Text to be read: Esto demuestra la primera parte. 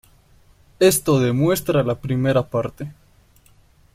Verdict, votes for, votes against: accepted, 2, 0